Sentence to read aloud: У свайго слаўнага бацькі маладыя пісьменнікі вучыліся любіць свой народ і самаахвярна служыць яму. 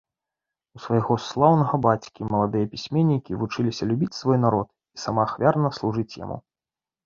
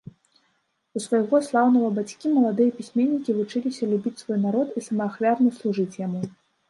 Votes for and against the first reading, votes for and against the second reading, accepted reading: 2, 0, 0, 2, first